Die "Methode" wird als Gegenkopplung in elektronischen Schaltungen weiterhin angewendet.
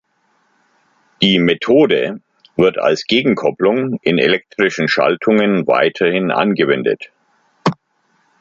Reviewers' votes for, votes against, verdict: 0, 2, rejected